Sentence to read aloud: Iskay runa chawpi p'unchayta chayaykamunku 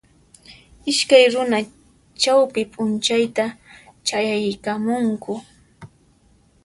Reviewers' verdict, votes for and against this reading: accepted, 2, 0